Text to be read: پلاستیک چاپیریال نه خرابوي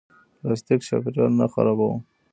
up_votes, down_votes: 1, 2